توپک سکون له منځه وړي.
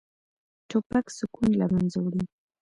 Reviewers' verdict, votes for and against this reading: accepted, 2, 0